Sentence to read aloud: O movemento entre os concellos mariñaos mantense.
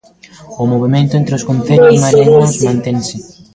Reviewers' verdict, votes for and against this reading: rejected, 0, 2